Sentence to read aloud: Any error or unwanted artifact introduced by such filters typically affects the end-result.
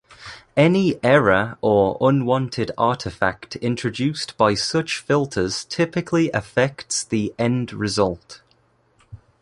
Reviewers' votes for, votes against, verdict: 2, 0, accepted